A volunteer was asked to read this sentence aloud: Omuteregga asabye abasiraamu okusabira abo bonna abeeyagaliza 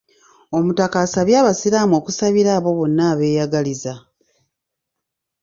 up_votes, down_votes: 0, 2